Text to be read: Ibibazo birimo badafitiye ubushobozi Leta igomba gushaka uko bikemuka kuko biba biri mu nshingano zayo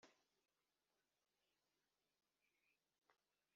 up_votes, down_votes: 1, 2